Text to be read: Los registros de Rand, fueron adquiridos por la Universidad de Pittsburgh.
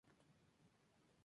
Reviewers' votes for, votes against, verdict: 2, 4, rejected